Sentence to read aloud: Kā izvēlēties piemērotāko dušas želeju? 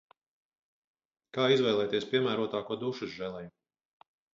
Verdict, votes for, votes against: accepted, 4, 0